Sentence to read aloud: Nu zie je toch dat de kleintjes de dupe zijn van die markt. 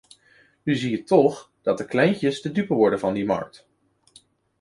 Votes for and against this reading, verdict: 0, 2, rejected